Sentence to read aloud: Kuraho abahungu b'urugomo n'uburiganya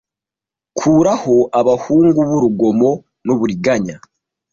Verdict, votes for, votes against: accepted, 2, 0